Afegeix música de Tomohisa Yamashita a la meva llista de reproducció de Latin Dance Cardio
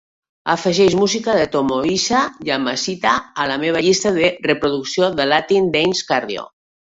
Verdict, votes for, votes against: rejected, 1, 2